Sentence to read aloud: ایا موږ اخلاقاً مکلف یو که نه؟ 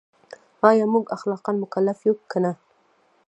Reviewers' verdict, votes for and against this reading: rejected, 1, 2